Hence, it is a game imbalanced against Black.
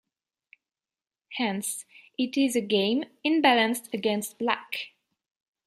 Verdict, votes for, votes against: accepted, 2, 1